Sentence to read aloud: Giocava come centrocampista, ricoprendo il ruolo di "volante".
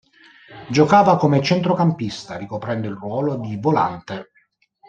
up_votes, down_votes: 2, 0